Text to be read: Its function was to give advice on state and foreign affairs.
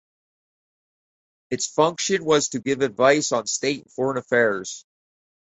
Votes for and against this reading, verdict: 2, 2, rejected